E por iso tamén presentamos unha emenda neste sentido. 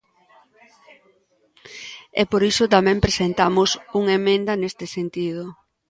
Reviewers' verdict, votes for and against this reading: accepted, 2, 0